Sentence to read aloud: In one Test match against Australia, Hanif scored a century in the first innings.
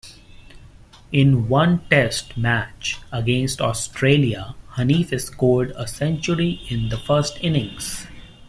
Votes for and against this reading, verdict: 2, 0, accepted